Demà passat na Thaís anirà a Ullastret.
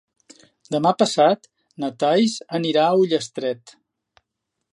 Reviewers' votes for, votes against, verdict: 1, 2, rejected